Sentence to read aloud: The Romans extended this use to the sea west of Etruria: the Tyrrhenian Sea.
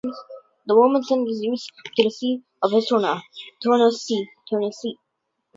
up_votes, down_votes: 0, 6